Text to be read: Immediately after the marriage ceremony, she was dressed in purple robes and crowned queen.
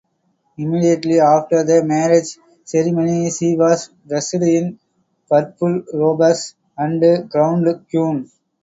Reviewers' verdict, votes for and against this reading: rejected, 2, 2